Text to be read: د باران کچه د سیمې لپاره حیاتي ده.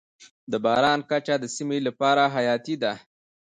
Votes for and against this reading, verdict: 0, 2, rejected